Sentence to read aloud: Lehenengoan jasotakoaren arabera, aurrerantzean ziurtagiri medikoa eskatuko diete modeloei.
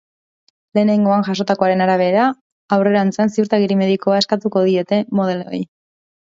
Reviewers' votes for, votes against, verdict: 2, 0, accepted